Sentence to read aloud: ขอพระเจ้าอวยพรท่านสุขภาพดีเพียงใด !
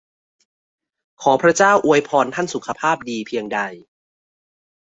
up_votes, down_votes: 2, 0